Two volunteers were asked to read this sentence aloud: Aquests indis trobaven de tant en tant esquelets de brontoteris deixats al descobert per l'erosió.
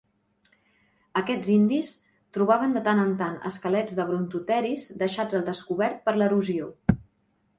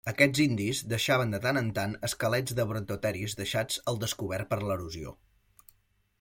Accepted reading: first